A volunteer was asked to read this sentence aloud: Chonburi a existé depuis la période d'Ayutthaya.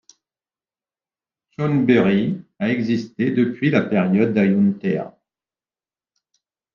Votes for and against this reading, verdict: 2, 1, accepted